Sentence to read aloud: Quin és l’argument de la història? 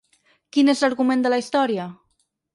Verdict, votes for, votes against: rejected, 2, 4